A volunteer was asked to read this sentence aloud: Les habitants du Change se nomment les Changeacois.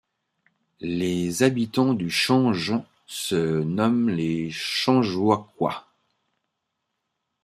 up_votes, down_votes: 1, 2